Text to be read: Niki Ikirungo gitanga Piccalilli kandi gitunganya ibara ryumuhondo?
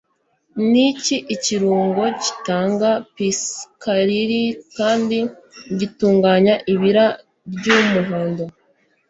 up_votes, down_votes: 0, 2